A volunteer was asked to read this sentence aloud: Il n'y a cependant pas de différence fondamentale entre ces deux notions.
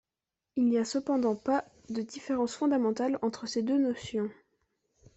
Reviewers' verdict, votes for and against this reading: accepted, 2, 0